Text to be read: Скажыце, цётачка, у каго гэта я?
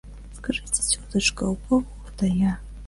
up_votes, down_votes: 0, 2